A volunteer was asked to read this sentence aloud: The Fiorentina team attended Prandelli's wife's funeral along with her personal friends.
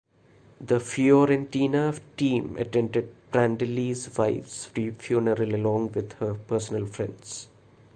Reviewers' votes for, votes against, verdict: 1, 2, rejected